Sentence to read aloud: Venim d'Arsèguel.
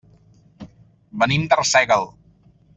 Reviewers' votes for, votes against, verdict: 2, 0, accepted